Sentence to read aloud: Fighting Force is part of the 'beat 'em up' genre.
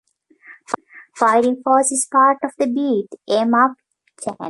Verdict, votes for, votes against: rejected, 1, 2